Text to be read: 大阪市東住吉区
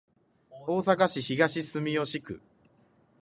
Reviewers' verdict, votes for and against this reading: accepted, 2, 0